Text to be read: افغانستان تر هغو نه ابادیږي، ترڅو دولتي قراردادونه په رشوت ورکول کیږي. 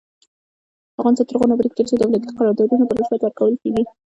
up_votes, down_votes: 0, 2